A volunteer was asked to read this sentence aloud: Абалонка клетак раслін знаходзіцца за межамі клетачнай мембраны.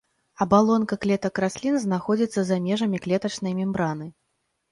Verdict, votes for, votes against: accepted, 2, 0